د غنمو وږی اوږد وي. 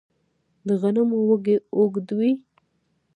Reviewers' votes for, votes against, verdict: 0, 2, rejected